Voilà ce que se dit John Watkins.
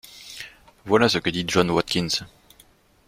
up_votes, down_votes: 1, 2